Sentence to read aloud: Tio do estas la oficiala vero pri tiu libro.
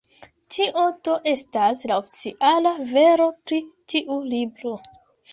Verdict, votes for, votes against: rejected, 0, 2